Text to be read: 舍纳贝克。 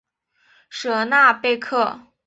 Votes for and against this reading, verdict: 3, 0, accepted